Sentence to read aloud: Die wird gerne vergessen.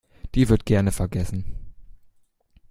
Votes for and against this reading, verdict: 2, 0, accepted